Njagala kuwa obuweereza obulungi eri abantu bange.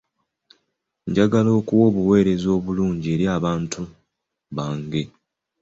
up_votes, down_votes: 2, 0